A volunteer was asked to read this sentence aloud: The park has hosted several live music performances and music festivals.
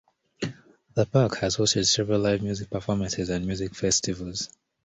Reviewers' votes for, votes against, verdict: 2, 0, accepted